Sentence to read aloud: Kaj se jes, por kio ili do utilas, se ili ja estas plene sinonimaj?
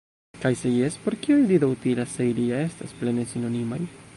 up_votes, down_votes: 2, 0